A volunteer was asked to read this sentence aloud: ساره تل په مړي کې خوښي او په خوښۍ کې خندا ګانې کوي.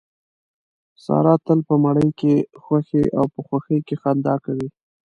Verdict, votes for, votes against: rejected, 1, 2